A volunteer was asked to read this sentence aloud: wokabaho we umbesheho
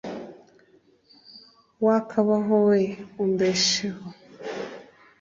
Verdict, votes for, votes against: accepted, 2, 0